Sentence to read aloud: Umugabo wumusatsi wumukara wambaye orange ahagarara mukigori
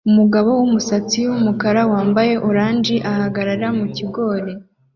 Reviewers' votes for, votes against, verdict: 2, 0, accepted